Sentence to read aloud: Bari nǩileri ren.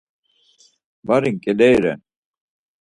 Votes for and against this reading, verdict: 4, 0, accepted